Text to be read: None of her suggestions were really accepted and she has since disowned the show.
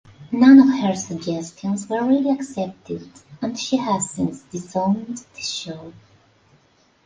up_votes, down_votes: 0, 2